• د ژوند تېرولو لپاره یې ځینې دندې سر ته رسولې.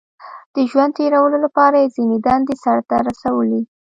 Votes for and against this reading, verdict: 1, 2, rejected